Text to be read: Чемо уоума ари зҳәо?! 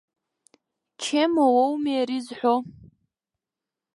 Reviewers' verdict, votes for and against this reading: rejected, 1, 2